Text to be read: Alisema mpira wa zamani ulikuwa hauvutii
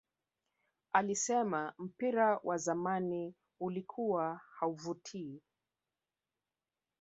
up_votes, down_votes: 3, 1